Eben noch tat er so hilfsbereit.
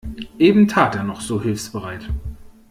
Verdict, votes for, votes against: rejected, 1, 2